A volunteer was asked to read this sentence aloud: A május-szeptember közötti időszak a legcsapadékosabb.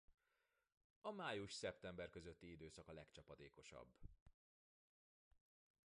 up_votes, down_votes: 0, 2